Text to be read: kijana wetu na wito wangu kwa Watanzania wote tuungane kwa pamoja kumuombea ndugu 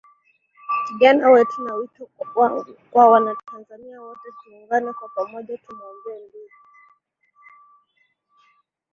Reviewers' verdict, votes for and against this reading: rejected, 5, 7